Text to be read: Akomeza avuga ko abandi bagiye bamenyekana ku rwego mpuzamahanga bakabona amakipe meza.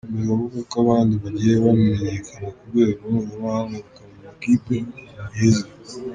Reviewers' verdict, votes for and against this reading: rejected, 0, 2